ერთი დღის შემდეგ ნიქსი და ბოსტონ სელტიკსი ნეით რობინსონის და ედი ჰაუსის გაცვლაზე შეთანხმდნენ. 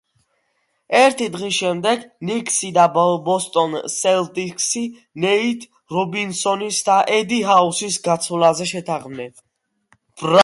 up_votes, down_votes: 2, 0